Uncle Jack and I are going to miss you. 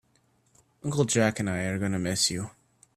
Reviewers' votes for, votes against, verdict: 1, 2, rejected